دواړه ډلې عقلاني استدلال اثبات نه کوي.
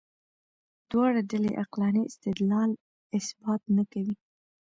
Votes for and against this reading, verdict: 1, 2, rejected